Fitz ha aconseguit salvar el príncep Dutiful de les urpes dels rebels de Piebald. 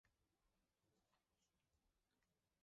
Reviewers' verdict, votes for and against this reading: rejected, 0, 3